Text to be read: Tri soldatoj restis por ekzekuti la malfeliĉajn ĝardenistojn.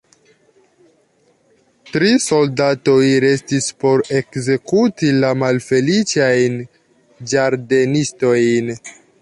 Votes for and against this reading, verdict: 0, 2, rejected